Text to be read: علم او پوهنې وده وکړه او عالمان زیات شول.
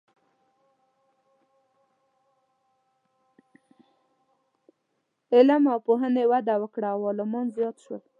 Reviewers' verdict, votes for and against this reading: rejected, 0, 2